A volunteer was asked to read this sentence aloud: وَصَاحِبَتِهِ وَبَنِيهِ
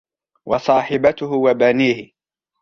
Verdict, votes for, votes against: rejected, 0, 2